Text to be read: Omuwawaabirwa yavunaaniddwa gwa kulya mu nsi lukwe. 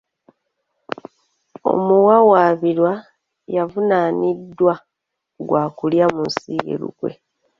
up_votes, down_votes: 1, 2